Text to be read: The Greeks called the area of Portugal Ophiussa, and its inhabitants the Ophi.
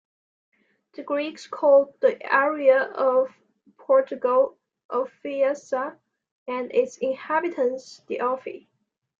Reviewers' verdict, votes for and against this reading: rejected, 1, 2